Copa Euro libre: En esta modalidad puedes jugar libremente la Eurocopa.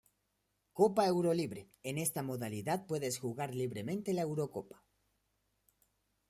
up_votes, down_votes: 1, 2